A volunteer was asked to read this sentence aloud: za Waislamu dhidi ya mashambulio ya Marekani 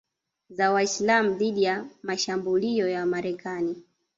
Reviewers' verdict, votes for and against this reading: rejected, 1, 2